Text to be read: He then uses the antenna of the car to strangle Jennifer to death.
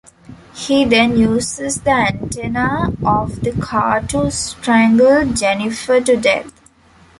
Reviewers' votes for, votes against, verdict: 2, 0, accepted